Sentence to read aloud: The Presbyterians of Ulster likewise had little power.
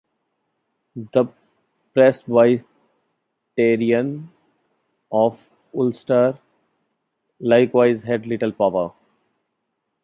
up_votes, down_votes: 0, 2